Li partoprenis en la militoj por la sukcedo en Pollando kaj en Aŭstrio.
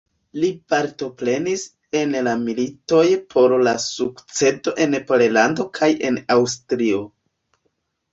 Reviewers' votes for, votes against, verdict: 0, 2, rejected